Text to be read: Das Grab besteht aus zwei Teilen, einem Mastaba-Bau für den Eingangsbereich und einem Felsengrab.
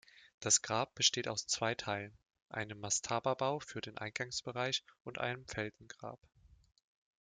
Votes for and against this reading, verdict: 2, 0, accepted